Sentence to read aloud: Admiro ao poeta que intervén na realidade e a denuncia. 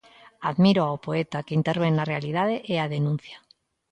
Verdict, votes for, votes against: accepted, 2, 0